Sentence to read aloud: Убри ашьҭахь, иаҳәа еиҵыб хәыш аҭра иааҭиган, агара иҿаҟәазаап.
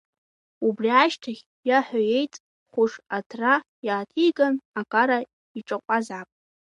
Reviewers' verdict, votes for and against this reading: rejected, 0, 2